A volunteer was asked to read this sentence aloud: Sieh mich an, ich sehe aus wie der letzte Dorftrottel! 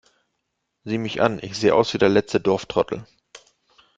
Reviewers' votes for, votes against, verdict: 2, 0, accepted